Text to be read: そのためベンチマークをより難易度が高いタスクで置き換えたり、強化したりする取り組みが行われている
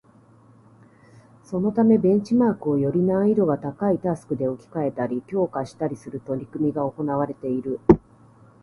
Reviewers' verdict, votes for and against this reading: accepted, 2, 0